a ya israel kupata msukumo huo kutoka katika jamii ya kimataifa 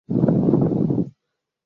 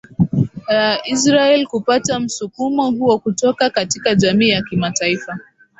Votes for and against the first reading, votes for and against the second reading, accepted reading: 0, 2, 10, 2, second